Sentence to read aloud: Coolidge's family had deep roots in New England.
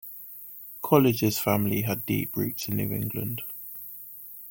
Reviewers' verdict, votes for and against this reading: rejected, 0, 2